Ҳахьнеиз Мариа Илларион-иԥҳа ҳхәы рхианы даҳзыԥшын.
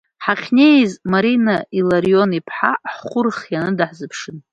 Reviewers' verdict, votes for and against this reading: rejected, 0, 2